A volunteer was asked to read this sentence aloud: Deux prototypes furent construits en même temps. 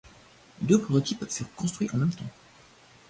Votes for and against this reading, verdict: 0, 2, rejected